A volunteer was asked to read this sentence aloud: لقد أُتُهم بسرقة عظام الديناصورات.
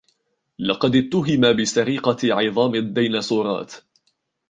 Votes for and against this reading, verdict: 1, 2, rejected